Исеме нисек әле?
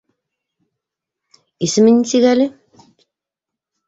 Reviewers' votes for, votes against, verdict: 2, 0, accepted